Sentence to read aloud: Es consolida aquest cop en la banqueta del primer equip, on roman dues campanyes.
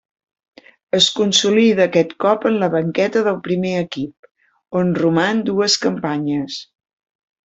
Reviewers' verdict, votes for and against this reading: accepted, 3, 0